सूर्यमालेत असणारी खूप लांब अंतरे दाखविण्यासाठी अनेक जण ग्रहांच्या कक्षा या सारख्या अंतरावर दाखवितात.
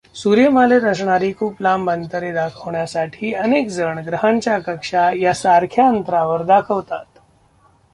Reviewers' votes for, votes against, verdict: 0, 2, rejected